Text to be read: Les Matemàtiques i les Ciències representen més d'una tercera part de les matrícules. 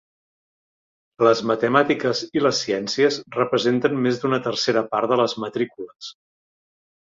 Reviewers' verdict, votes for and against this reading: accepted, 3, 0